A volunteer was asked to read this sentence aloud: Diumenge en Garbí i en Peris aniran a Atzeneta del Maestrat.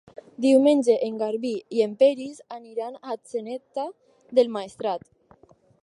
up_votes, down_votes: 4, 0